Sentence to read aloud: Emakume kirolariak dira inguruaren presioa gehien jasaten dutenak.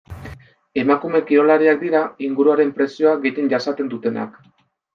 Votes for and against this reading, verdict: 2, 0, accepted